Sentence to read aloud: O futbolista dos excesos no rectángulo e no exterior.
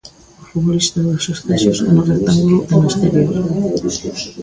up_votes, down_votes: 0, 2